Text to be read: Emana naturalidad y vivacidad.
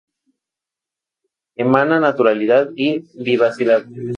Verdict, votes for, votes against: accepted, 2, 0